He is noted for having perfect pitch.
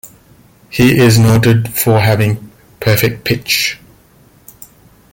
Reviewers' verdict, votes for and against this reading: accepted, 2, 0